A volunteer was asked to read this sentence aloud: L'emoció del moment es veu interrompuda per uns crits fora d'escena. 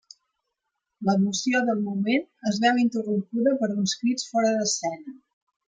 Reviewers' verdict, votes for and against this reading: rejected, 0, 2